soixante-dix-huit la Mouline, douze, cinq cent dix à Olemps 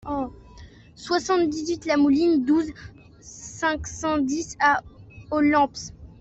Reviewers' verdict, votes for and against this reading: rejected, 1, 2